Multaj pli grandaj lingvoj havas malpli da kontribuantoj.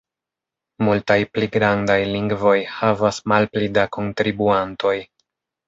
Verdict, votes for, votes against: rejected, 1, 2